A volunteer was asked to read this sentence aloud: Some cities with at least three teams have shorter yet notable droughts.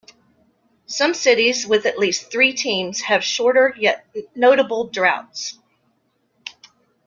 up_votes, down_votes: 2, 0